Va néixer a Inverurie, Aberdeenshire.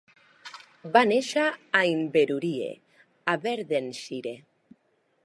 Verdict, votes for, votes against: rejected, 0, 2